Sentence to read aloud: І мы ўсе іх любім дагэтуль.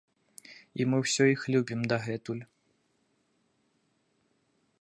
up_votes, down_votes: 0, 2